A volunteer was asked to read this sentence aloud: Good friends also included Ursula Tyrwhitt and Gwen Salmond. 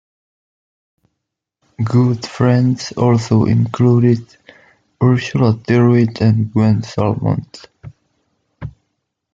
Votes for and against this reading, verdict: 2, 0, accepted